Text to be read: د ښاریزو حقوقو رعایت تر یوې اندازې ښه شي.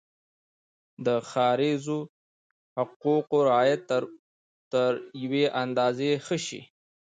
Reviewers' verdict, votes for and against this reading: rejected, 1, 2